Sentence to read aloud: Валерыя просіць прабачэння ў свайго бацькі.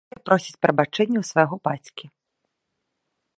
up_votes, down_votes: 0, 2